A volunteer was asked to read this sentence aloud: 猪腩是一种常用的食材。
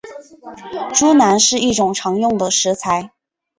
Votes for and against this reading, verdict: 4, 0, accepted